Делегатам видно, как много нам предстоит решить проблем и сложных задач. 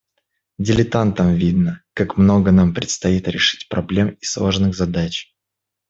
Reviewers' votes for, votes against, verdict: 1, 2, rejected